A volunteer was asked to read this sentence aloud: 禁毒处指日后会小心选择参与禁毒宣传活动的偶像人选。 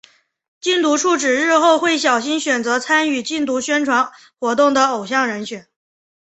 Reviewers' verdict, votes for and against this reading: accepted, 4, 0